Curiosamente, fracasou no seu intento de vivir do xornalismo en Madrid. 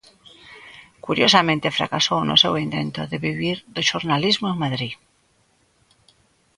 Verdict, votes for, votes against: accepted, 2, 0